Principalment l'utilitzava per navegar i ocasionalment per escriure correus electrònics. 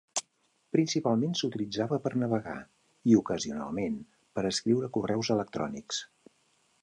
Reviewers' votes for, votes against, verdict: 1, 2, rejected